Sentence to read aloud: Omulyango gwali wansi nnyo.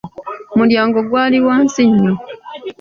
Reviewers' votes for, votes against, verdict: 1, 2, rejected